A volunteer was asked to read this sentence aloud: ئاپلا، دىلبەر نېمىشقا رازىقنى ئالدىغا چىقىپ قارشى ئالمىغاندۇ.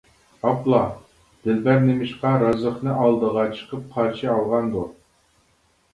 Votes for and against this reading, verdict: 0, 2, rejected